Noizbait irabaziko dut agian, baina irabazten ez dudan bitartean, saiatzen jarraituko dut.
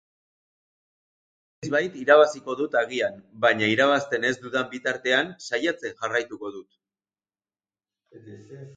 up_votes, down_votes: 0, 2